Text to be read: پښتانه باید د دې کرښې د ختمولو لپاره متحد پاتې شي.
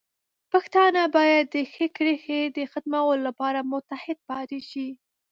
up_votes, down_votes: 2, 3